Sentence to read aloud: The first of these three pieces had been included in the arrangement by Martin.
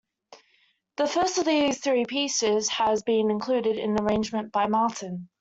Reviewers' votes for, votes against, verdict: 0, 2, rejected